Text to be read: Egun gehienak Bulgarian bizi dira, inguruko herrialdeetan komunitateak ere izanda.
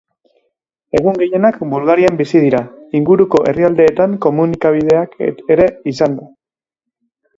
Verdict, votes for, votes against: rejected, 0, 3